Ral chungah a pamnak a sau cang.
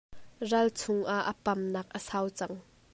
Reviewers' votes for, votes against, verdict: 2, 0, accepted